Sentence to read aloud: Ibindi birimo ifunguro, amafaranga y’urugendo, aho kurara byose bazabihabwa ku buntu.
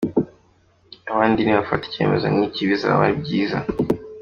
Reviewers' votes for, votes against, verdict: 0, 2, rejected